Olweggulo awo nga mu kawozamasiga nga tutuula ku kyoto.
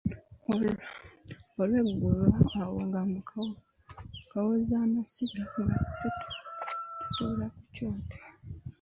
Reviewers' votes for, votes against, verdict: 0, 4, rejected